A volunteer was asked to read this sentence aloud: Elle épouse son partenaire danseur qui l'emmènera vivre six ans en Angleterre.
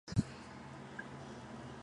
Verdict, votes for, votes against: rejected, 1, 2